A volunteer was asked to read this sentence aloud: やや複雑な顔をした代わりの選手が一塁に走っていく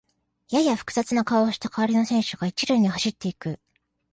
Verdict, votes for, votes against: accepted, 2, 0